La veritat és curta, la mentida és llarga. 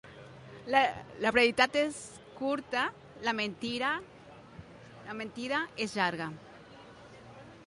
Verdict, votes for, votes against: rejected, 0, 2